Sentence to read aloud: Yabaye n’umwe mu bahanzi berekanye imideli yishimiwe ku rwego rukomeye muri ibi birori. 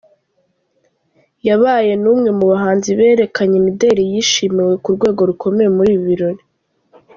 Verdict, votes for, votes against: rejected, 0, 2